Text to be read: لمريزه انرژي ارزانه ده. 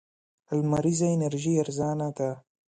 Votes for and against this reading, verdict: 2, 0, accepted